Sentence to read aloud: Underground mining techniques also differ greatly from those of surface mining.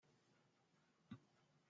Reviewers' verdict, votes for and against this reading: rejected, 0, 2